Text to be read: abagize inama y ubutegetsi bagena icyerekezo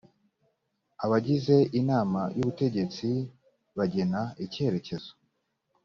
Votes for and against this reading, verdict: 2, 0, accepted